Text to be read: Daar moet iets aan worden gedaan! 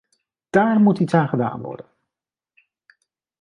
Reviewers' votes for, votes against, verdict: 1, 2, rejected